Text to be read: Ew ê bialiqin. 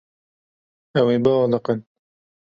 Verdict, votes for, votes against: accepted, 2, 0